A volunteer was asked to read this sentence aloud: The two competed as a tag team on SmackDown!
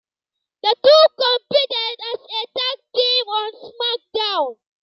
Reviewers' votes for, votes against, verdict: 2, 0, accepted